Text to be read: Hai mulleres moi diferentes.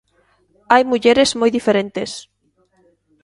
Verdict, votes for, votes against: accepted, 2, 0